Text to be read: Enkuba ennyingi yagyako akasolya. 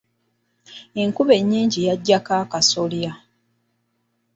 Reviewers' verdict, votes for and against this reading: accepted, 2, 1